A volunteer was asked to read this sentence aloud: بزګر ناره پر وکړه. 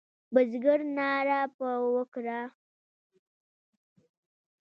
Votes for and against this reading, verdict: 2, 0, accepted